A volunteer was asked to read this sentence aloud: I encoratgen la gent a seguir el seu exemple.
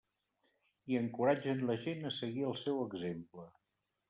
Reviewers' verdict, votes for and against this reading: accepted, 3, 0